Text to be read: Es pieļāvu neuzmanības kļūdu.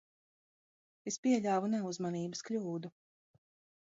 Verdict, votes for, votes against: accepted, 2, 0